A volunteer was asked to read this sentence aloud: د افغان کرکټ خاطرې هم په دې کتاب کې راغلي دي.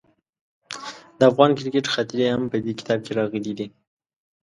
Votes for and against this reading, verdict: 2, 0, accepted